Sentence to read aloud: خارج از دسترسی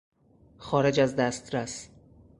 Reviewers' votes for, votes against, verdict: 0, 4, rejected